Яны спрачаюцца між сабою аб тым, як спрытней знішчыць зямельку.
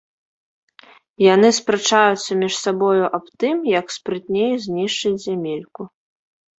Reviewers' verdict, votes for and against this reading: accepted, 2, 0